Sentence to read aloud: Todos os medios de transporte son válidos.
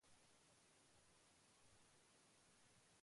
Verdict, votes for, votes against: rejected, 0, 2